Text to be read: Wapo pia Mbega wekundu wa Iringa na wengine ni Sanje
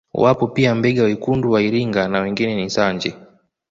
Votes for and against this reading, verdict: 2, 0, accepted